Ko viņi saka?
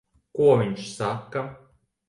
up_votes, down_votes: 2, 1